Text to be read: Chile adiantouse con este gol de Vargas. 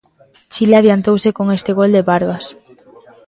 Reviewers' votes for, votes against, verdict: 2, 0, accepted